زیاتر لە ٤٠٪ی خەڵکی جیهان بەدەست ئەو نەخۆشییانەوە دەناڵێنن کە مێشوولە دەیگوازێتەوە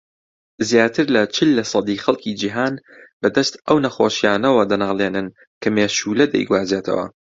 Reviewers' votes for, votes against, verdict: 0, 2, rejected